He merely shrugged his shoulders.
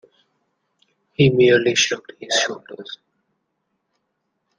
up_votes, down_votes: 2, 1